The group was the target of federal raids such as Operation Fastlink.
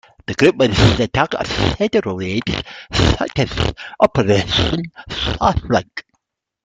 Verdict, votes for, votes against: rejected, 0, 2